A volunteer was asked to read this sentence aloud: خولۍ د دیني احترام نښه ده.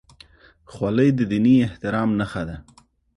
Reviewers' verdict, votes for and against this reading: accepted, 2, 0